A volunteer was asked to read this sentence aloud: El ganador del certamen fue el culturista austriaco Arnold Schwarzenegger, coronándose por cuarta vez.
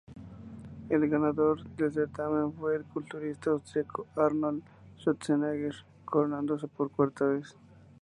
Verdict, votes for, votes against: accepted, 2, 0